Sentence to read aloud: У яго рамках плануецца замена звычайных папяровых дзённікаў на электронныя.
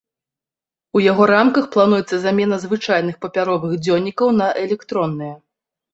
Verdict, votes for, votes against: accepted, 2, 0